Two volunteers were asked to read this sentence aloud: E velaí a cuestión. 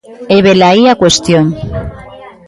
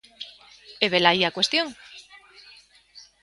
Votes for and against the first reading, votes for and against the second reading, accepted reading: 1, 2, 2, 0, second